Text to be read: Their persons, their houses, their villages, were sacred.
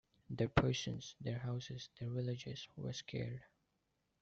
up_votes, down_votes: 1, 2